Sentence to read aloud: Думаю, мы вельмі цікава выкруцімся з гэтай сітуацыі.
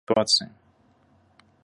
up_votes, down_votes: 0, 2